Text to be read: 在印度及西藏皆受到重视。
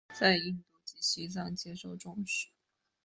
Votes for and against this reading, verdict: 1, 2, rejected